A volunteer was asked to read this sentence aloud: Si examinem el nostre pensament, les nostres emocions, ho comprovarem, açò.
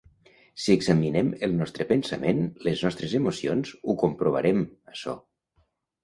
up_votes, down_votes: 2, 0